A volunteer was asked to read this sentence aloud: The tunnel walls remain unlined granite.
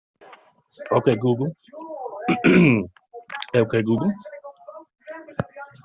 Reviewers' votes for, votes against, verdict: 0, 2, rejected